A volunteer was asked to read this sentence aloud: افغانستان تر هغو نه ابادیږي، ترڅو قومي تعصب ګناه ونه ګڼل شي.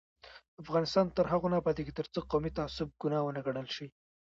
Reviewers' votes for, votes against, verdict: 1, 2, rejected